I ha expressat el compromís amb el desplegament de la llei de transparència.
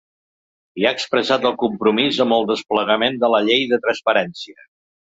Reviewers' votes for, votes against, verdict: 2, 0, accepted